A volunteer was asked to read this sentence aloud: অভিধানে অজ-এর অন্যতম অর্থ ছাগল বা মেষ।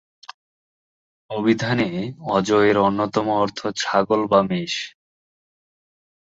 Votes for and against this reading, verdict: 2, 0, accepted